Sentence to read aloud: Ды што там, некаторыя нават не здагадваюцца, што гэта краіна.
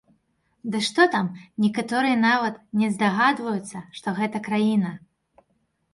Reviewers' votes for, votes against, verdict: 3, 0, accepted